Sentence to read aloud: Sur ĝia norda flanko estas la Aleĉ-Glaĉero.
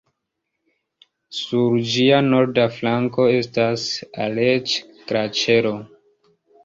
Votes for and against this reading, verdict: 1, 2, rejected